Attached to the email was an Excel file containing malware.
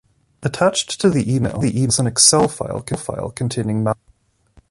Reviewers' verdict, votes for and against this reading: rejected, 0, 2